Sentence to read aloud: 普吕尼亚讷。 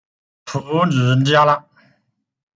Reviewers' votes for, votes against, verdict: 0, 2, rejected